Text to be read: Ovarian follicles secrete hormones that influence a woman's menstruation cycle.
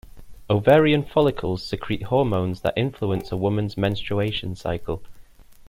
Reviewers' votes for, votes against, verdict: 2, 0, accepted